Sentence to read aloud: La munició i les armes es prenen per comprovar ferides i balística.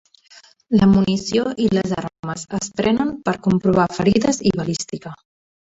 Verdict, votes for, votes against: accepted, 3, 0